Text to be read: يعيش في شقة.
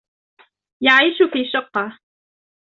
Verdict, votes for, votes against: rejected, 0, 2